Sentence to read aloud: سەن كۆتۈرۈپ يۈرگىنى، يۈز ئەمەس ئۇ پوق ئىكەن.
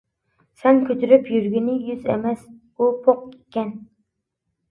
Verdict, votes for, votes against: accepted, 2, 0